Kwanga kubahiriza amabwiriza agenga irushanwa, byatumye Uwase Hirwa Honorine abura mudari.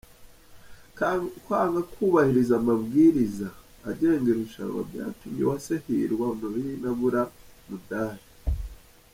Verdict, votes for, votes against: rejected, 0, 2